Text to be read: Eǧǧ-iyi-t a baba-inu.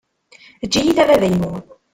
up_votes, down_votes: 0, 2